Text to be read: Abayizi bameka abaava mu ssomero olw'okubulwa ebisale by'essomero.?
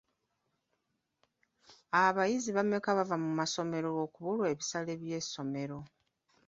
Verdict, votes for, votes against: rejected, 1, 2